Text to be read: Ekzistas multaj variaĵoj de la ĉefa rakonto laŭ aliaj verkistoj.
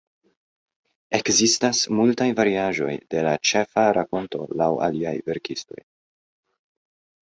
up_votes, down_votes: 2, 0